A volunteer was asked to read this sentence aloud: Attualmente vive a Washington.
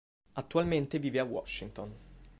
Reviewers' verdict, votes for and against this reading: accepted, 3, 0